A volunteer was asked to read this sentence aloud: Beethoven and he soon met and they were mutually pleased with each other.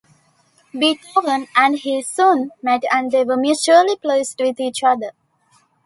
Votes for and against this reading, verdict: 2, 0, accepted